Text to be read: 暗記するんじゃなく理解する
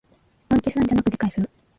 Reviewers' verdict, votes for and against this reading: rejected, 0, 2